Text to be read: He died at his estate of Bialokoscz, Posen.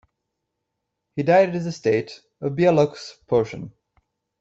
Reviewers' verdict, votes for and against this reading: rejected, 0, 2